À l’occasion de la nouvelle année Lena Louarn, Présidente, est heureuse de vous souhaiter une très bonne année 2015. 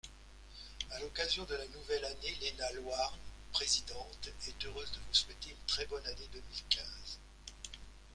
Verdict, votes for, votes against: rejected, 0, 2